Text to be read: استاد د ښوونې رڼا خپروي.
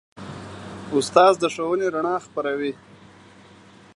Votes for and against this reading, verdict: 0, 2, rejected